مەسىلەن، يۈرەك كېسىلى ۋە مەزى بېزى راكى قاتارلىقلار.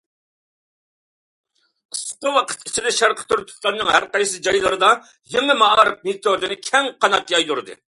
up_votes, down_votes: 0, 2